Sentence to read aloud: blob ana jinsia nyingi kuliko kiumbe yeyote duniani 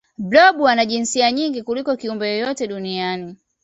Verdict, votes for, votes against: accepted, 2, 1